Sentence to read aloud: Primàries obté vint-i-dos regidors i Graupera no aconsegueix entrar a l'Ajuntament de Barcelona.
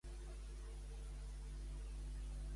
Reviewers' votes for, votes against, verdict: 0, 2, rejected